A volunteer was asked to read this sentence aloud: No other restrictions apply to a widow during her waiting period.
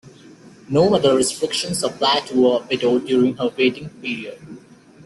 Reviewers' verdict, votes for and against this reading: rejected, 0, 2